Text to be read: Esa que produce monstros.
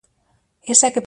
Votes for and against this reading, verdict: 0, 2, rejected